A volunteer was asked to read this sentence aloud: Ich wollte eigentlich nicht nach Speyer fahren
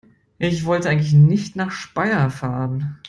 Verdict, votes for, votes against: accepted, 2, 0